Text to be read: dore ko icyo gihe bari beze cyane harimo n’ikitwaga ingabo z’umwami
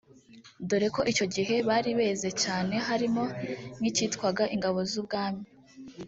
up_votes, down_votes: 0, 2